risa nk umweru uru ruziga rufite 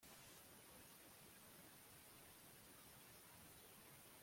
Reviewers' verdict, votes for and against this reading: rejected, 0, 2